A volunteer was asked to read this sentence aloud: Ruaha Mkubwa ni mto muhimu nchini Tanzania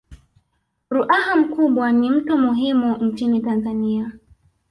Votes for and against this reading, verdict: 1, 2, rejected